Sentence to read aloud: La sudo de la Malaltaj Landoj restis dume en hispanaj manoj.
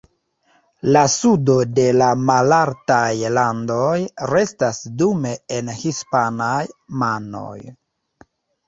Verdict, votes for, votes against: rejected, 1, 2